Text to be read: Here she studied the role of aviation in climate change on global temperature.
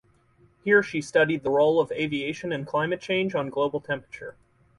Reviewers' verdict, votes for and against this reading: accepted, 4, 0